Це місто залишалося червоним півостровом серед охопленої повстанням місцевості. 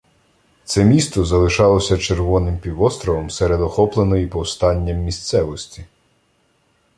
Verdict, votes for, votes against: accepted, 2, 0